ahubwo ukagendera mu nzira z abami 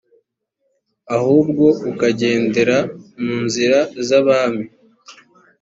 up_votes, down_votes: 3, 0